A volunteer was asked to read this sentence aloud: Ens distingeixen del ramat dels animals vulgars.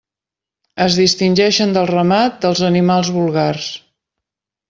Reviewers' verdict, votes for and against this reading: rejected, 1, 2